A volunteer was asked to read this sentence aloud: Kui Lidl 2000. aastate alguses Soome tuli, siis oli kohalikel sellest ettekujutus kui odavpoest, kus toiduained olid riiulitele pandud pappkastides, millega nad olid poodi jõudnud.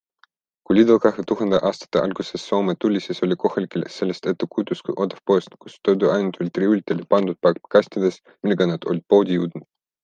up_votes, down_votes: 0, 2